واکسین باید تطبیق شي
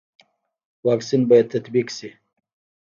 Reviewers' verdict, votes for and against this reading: rejected, 1, 2